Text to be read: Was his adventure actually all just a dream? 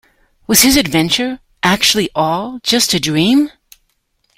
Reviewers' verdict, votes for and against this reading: accepted, 2, 0